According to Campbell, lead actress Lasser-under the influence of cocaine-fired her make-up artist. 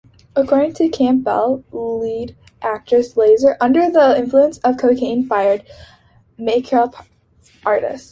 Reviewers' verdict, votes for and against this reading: accepted, 3, 2